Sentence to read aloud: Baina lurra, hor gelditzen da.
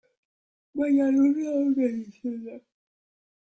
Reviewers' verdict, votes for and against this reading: rejected, 0, 2